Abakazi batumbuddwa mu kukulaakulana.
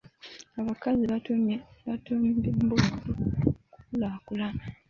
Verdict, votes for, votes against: rejected, 0, 2